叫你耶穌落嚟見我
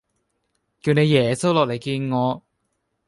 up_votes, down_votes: 2, 0